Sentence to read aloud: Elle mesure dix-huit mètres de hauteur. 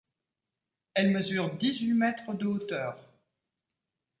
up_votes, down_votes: 2, 0